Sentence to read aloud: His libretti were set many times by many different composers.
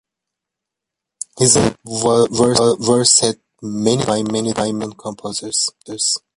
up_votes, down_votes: 0, 2